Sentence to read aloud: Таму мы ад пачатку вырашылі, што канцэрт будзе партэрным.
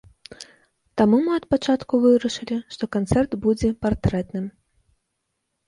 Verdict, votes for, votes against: rejected, 0, 2